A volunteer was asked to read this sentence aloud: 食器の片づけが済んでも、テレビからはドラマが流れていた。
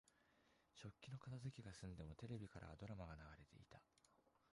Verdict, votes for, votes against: rejected, 0, 2